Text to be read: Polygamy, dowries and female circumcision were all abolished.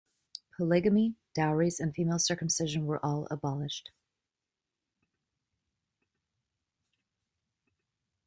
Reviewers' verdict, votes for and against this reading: accepted, 2, 0